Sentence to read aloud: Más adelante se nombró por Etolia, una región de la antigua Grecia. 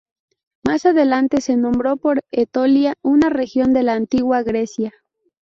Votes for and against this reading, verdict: 0, 2, rejected